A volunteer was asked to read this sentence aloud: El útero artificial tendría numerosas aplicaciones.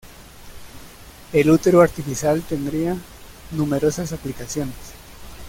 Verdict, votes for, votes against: accepted, 2, 0